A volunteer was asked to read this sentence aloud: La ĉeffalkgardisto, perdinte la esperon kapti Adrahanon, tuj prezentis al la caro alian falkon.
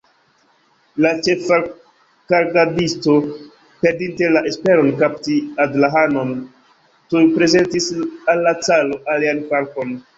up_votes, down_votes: 0, 3